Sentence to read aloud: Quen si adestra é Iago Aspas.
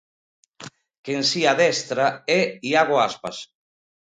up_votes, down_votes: 2, 0